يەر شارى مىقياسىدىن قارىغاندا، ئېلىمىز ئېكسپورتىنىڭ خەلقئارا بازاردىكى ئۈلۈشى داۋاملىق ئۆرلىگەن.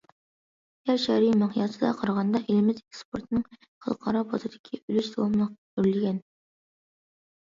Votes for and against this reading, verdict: 0, 2, rejected